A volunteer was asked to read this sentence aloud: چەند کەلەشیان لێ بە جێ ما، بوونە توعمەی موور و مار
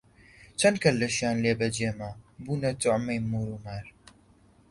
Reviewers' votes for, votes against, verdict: 2, 0, accepted